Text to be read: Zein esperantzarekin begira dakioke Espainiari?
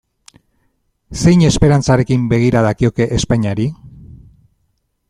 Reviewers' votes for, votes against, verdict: 2, 0, accepted